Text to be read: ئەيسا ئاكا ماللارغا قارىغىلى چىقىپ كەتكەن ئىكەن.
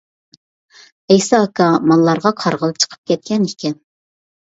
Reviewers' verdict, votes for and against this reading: accepted, 2, 0